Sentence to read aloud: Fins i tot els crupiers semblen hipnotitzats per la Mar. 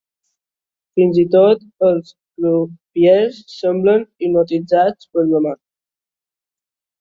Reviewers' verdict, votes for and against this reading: accepted, 2, 1